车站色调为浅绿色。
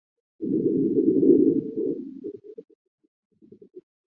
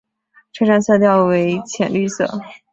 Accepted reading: second